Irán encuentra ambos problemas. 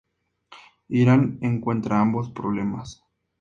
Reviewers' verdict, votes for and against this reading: accepted, 2, 0